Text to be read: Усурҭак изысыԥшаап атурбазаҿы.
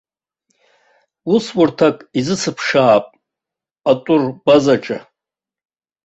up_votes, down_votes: 2, 1